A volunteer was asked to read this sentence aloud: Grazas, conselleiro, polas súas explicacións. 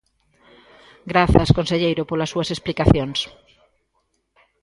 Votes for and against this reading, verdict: 1, 2, rejected